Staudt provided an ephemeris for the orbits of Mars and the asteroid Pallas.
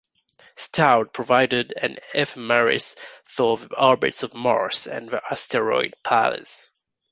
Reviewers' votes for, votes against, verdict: 2, 1, accepted